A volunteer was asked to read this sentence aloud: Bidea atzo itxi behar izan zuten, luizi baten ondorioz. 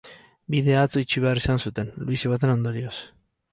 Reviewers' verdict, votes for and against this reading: rejected, 2, 2